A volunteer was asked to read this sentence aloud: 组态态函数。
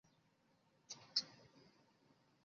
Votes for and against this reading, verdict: 0, 2, rejected